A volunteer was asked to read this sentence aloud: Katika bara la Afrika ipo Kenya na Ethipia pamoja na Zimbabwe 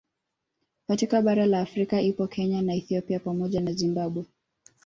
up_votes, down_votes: 2, 1